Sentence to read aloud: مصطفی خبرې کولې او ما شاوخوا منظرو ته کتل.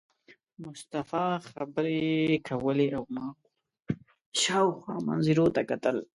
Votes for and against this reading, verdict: 0, 2, rejected